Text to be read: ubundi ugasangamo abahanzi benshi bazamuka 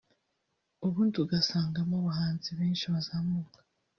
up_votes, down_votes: 2, 0